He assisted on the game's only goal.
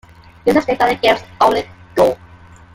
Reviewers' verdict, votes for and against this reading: rejected, 0, 2